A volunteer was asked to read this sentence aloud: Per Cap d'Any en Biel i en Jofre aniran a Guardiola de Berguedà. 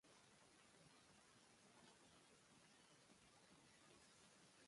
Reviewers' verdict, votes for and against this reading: rejected, 0, 2